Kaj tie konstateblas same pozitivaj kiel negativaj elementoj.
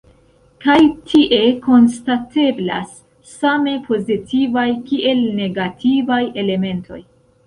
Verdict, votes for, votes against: accepted, 2, 1